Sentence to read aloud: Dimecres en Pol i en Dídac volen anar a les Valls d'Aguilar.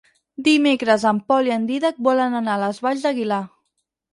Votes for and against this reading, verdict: 4, 0, accepted